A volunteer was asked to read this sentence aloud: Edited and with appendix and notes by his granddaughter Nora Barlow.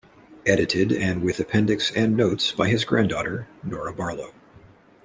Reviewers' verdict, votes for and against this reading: accepted, 2, 0